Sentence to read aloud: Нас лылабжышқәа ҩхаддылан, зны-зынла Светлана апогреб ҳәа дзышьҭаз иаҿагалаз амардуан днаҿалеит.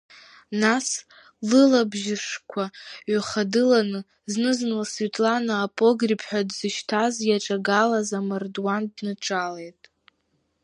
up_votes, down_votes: 0, 2